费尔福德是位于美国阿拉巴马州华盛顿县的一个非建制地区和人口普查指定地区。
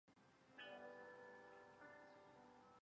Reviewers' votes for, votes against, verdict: 0, 2, rejected